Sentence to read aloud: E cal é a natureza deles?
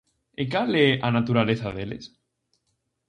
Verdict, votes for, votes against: rejected, 0, 2